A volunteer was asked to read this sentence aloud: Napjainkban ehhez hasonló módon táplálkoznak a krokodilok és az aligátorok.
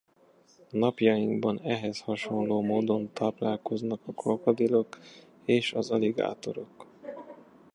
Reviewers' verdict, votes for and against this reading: accepted, 2, 1